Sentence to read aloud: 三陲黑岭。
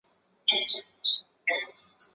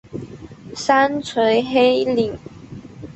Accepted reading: second